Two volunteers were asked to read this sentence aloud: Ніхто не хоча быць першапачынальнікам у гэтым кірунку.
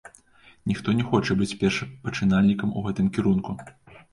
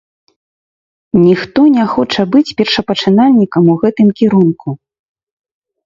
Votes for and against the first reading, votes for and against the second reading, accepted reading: 3, 0, 0, 2, first